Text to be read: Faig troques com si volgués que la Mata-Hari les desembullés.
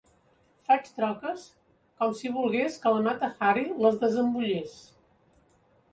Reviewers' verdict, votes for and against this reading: rejected, 0, 2